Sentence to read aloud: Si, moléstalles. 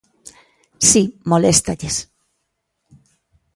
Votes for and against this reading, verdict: 2, 0, accepted